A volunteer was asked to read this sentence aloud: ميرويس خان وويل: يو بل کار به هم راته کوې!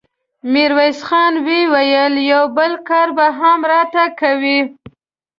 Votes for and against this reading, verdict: 2, 0, accepted